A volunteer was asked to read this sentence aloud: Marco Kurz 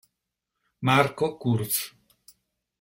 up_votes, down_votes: 1, 2